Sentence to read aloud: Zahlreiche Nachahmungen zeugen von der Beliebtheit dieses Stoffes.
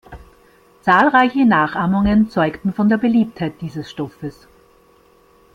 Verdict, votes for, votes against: rejected, 0, 2